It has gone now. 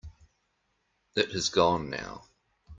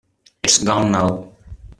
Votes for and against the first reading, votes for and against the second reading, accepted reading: 2, 0, 0, 2, first